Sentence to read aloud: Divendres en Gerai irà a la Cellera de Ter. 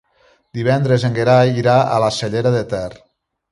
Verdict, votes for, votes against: accepted, 2, 0